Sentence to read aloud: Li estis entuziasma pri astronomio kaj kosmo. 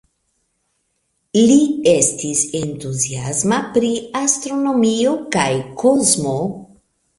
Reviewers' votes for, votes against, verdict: 1, 2, rejected